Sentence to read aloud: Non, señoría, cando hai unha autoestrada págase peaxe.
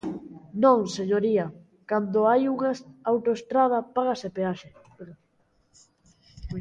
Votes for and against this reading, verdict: 0, 2, rejected